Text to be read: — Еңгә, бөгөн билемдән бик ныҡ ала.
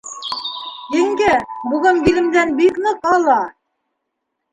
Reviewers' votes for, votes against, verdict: 1, 2, rejected